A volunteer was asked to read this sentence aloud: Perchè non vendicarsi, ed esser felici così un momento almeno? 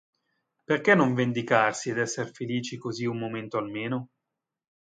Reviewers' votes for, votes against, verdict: 2, 0, accepted